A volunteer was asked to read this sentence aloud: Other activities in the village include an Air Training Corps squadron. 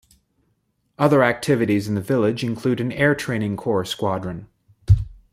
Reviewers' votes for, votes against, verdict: 2, 0, accepted